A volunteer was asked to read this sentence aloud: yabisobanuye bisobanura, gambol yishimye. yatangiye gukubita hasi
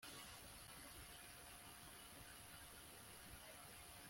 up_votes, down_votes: 1, 2